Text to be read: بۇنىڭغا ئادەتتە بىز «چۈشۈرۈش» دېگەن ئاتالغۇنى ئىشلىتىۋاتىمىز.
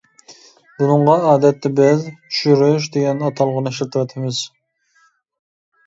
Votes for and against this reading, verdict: 2, 0, accepted